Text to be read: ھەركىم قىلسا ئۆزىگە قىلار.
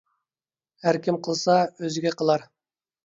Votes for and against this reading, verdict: 2, 0, accepted